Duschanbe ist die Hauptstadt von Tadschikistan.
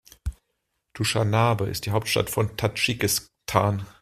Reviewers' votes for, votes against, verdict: 1, 2, rejected